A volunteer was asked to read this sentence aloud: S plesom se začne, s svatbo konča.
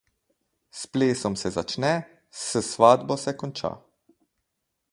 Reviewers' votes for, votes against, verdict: 0, 4, rejected